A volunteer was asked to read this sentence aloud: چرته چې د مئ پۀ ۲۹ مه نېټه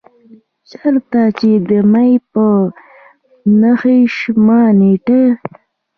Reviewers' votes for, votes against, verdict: 0, 2, rejected